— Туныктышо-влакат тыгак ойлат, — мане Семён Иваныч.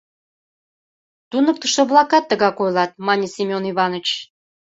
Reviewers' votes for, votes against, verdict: 2, 0, accepted